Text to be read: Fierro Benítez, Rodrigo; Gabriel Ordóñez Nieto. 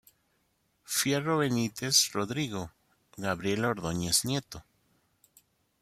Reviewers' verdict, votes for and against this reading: accepted, 2, 0